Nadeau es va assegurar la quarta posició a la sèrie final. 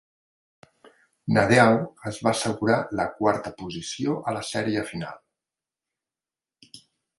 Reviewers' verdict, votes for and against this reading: accepted, 3, 1